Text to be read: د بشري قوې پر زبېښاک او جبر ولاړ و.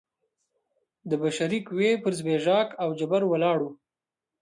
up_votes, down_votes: 2, 0